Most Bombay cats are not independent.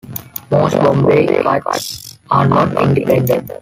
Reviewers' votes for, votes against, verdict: 0, 2, rejected